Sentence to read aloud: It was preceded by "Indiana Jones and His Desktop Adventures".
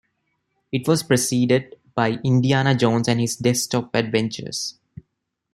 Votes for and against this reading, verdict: 2, 0, accepted